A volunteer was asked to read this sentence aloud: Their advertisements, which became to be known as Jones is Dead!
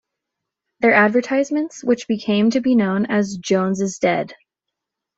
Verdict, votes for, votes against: accepted, 2, 0